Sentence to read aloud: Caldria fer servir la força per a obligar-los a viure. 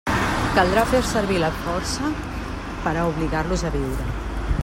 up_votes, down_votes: 1, 2